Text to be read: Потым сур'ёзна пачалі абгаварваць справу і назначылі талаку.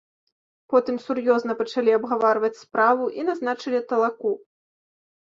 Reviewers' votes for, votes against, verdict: 2, 0, accepted